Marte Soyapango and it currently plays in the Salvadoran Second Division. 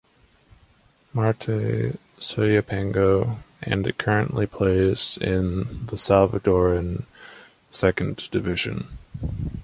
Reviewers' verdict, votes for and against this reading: accepted, 2, 0